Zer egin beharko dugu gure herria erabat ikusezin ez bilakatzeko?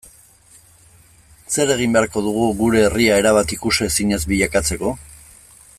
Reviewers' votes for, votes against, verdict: 2, 0, accepted